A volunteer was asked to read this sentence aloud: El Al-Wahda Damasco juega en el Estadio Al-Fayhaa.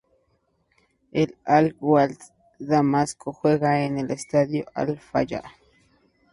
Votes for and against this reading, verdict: 2, 0, accepted